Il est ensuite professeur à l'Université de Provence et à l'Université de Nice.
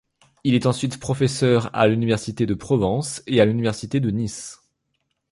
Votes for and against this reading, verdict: 2, 0, accepted